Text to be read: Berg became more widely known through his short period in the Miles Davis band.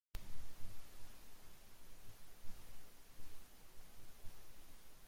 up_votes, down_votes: 0, 2